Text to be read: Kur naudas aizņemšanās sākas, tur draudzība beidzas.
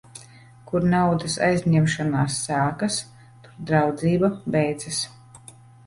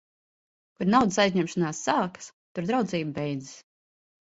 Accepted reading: second